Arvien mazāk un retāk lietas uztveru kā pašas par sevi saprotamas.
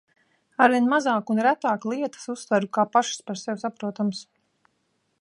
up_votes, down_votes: 2, 0